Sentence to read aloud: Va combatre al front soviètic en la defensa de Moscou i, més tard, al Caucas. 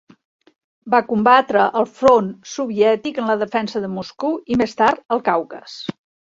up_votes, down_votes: 1, 2